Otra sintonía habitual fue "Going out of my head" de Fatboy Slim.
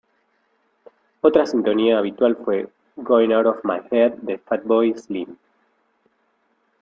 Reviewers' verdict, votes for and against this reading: accepted, 2, 1